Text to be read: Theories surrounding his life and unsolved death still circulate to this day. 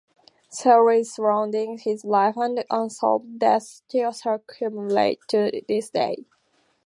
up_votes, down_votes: 4, 0